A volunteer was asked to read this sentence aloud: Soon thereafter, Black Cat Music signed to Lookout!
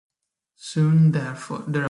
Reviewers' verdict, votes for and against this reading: rejected, 0, 2